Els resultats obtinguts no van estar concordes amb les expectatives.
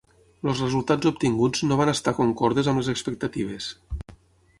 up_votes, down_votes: 0, 6